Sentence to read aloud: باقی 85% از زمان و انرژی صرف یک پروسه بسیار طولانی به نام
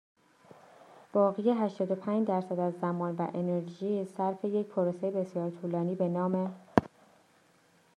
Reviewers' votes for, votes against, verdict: 0, 2, rejected